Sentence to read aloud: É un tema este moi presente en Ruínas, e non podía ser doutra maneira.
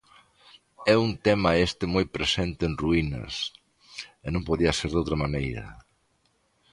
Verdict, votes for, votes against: accepted, 2, 0